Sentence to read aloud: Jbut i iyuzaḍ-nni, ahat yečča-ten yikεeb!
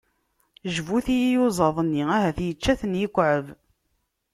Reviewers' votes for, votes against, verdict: 2, 0, accepted